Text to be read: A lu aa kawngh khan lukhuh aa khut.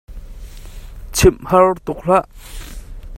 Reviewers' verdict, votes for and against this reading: rejected, 0, 2